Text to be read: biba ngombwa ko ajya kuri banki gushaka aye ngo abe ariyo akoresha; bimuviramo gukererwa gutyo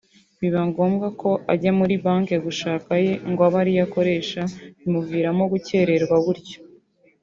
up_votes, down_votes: 2, 0